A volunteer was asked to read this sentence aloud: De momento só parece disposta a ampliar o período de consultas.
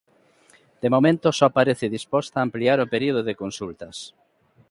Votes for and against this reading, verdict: 2, 0, accepted